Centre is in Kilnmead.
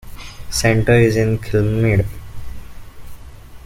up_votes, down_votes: 2, 1